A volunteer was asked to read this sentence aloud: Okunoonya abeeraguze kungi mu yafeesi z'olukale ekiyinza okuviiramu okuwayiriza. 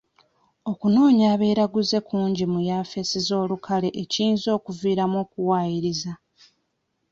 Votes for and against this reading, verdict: 1, 2, rejected